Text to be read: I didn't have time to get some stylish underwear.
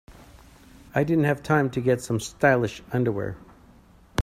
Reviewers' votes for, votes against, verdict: 2, 0, accepted